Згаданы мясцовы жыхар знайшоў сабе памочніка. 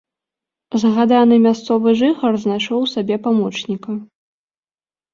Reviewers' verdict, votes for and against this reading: rejected, 0, 2